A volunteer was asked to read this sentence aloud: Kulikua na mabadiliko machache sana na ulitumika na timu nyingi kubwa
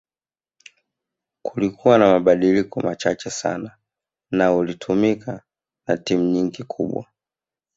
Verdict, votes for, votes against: accepted, 3, 0